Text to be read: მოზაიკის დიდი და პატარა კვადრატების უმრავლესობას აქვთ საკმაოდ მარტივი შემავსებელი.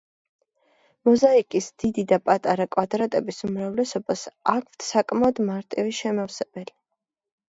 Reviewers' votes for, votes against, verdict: 2, 0, accepted